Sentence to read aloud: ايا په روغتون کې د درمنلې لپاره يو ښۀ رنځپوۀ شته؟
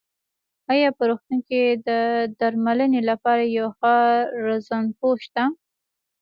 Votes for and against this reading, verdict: 2, 1, accepted